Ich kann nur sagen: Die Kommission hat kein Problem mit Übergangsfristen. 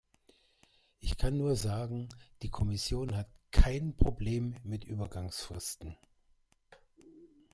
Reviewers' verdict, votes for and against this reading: accepted, 3, 0